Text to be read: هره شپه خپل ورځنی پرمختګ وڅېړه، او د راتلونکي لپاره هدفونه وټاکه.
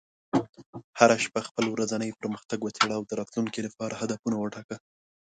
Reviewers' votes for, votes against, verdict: 2, 0, accepted